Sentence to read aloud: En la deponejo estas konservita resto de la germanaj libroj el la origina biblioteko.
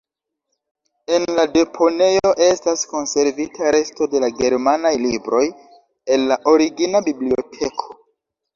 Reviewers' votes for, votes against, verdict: 2, 1, accepted